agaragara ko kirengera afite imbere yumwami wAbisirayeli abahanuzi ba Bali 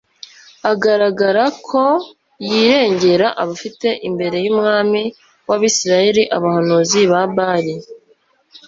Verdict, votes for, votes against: rejected, 0, 2